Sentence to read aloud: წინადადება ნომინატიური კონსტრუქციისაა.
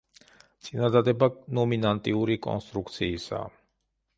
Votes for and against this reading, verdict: 0, 2, rejected